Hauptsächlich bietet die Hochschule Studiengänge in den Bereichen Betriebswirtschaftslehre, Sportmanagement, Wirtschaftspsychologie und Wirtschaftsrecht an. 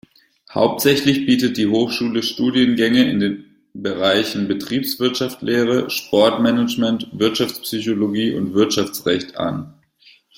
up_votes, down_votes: 0, 2